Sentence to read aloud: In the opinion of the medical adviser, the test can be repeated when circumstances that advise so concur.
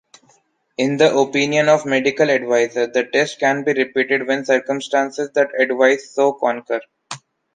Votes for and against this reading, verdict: 1, 2, rejected